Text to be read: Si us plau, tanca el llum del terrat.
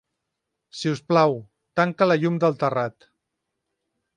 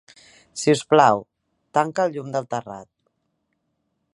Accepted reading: second